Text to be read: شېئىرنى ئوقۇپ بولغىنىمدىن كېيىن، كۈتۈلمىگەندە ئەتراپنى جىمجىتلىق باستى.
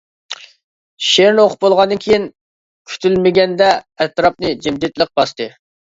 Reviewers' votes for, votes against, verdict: 0, 2, rejected